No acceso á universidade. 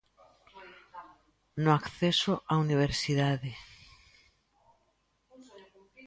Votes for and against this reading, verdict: 2, 0, accepted